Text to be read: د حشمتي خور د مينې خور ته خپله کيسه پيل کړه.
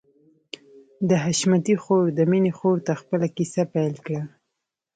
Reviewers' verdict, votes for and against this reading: accepted, 2, 1